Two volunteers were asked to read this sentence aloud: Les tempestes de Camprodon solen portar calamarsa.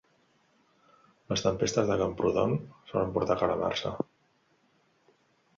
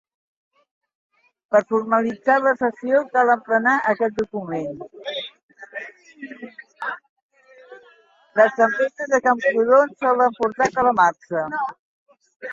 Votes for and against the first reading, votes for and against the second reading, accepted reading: 2, 0, 0, 2, first